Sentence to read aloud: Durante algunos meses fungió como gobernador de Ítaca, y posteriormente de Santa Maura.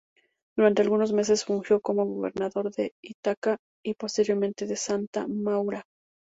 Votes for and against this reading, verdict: 4, 0, accepted